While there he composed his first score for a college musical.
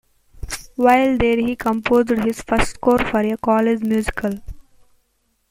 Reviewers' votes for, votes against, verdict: 1, 2, rejected